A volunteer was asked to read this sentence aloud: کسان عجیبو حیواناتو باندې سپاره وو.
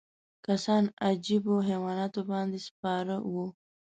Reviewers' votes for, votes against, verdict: 2, 0, accepted